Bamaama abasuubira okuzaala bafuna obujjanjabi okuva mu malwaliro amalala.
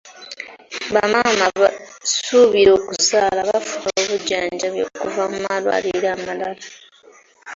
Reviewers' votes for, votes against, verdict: 1, 2, rejected